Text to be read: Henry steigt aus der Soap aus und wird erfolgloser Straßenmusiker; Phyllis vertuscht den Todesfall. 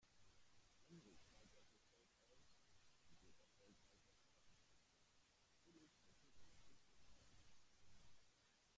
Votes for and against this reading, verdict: 0, 2, rejected